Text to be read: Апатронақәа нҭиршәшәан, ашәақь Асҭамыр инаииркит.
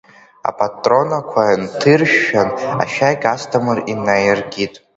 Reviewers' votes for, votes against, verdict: 2, 1, accepted